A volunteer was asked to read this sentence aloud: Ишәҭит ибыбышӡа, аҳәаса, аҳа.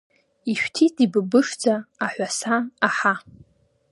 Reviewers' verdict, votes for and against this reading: accepted, 2, 0